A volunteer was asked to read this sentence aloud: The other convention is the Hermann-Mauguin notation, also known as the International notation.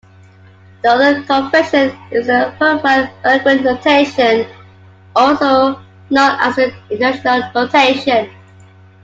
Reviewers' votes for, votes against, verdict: 0, 2, rejected